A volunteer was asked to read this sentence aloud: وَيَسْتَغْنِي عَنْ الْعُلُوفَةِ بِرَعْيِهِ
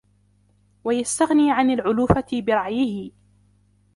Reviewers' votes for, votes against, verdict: 2, 1, accepted